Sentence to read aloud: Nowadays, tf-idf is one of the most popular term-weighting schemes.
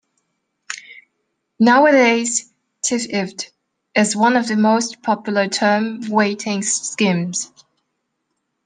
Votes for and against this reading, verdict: 0, 2, rejected